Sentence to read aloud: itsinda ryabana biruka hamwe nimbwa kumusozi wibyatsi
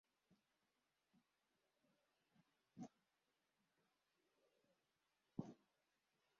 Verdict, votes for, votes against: rejected, 0, 2